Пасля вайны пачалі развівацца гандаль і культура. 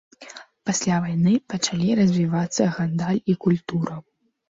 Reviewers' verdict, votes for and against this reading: rejected, 0, 2